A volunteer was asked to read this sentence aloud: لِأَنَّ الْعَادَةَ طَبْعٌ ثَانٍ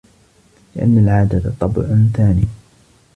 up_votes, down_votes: 2, 0